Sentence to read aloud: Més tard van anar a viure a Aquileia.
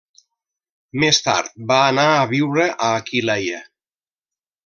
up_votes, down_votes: 1, 2